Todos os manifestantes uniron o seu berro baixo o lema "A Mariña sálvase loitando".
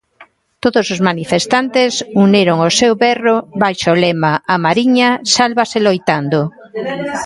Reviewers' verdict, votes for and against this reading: accepted, 2, 0